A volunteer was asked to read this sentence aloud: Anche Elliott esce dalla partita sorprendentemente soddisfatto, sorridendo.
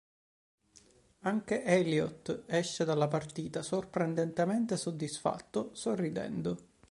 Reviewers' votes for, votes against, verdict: 4, 0, accepted